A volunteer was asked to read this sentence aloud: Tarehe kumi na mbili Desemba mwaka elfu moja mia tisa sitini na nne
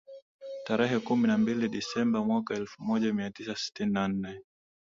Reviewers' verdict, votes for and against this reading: accepted, 2, 0